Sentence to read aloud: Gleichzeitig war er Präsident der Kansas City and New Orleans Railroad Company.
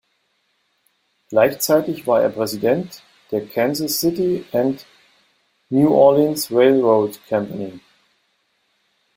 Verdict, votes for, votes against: accepted, 3, 0